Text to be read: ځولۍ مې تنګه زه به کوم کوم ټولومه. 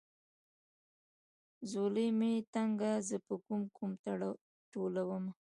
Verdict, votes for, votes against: accepted, 2, 1